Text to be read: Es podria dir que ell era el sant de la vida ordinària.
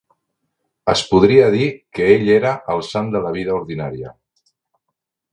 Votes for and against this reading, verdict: 3, 0, accepted